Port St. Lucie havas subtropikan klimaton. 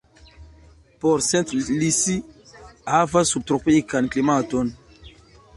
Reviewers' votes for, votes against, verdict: 1, 2, rejected